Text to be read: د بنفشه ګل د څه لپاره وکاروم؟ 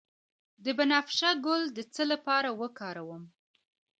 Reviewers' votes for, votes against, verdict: 2, 0, accepted